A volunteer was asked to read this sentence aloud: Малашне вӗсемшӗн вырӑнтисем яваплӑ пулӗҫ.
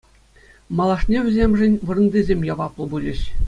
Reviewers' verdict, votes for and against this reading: accepted, 2, 0